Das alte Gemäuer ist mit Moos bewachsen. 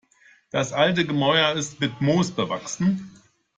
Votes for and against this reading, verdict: 2, 0, accepted